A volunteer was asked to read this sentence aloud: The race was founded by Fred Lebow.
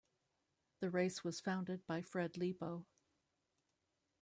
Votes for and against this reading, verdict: 2, 0, accepted